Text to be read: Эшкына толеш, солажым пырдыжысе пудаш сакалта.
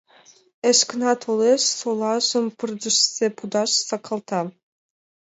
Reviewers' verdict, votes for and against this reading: accepted, 2, 0